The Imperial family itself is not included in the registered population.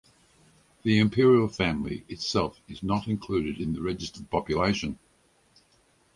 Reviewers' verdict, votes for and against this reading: accepted, 4, 0